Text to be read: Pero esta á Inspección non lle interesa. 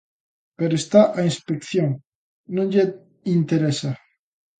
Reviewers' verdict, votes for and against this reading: rejected, 0, 2